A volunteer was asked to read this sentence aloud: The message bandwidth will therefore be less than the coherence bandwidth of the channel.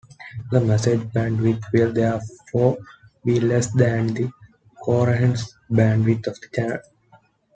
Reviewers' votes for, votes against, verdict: 1, 2, rejected